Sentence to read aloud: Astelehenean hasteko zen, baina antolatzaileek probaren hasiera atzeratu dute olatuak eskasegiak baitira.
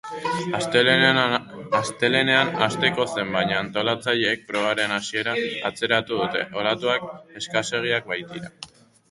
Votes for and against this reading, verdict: 2, 0, accepted